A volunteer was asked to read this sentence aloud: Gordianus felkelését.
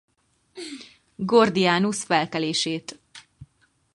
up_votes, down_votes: 2, 4